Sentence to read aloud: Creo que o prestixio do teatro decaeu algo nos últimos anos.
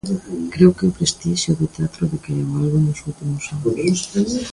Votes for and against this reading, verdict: 2, 1, accepted